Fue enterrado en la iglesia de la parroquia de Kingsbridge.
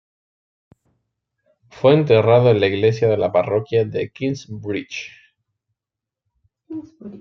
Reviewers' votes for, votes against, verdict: 1, 2, rejected